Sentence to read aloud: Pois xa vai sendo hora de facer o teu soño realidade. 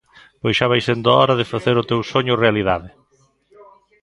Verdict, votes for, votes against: rejected, 1, 2